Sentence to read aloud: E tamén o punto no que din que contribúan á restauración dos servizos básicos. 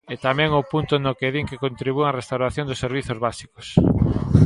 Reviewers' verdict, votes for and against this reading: accepted, 2, 1